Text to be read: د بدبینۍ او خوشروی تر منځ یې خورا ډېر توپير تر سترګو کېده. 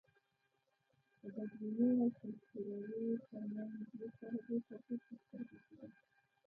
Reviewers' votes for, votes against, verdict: 0, 2, rejected